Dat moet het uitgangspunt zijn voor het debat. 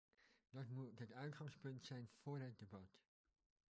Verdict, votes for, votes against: accepted, 2, 1